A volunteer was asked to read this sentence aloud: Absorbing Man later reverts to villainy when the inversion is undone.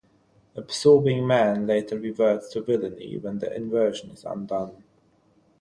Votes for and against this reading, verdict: 3, 0, accepted